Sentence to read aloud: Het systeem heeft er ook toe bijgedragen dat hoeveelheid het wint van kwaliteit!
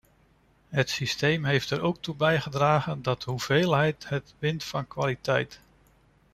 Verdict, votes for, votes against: accepted, 2, 0